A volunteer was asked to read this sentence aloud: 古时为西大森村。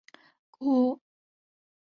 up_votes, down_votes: 1, 5